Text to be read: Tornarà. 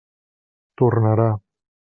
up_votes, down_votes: 3, 0